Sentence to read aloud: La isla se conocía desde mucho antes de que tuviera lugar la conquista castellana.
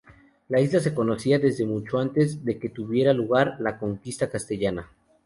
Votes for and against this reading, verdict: 2, 0, accepted